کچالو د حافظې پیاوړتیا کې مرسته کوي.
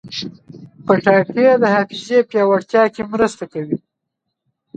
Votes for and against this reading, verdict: 0, 2, rejected